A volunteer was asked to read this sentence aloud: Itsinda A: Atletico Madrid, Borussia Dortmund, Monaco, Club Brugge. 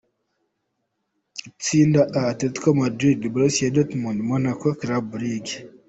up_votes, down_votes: 2, 0